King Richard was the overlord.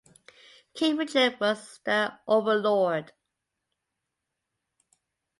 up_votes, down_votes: 2, 1